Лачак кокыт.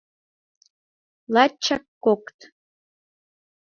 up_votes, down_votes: 2, 0